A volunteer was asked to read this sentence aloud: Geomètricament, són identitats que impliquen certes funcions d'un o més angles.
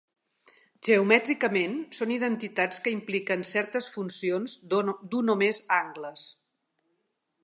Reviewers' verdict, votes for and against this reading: rejected, 1, 2